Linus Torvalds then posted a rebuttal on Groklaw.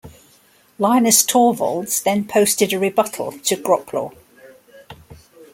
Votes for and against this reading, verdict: 1, 2, rejected